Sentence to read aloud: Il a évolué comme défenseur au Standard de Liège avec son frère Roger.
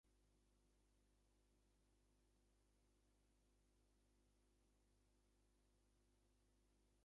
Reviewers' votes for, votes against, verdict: 1, 2, rejected